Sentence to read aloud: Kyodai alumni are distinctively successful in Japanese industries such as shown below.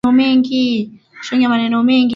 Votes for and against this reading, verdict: 0, 2, rejected